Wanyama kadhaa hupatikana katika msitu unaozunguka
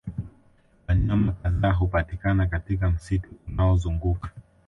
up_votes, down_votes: 2, 0